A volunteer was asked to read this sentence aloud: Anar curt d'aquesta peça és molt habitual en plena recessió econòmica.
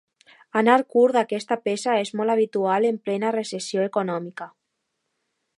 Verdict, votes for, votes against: accepted, 2, 0